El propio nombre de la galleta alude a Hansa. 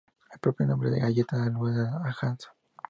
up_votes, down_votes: 0, 4